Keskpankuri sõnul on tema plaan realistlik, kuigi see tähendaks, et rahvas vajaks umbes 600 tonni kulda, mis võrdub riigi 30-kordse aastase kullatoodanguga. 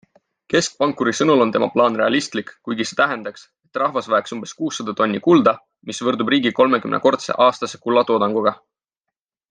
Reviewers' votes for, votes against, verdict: 0, 2, rejected